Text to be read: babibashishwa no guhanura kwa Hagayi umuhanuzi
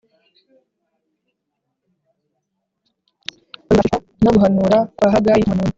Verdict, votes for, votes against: rejected, 0, 3